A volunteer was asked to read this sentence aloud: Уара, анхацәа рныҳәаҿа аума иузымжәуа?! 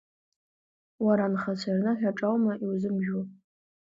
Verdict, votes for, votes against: accepted, 2, 1